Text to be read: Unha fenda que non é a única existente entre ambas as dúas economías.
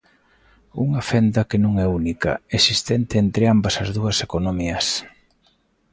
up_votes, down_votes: 2, 0